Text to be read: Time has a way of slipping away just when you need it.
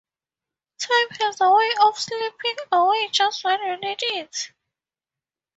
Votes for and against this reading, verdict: 2, 4, rejected